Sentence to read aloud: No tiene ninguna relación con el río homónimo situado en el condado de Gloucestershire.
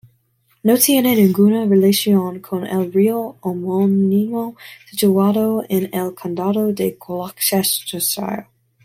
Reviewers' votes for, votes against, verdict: 0, 2, rejected